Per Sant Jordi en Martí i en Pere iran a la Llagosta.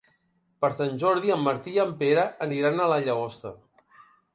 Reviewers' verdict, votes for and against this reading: rejected, 0, 3